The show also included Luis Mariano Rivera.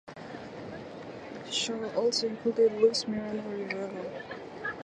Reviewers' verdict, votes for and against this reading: rejected, 2, 2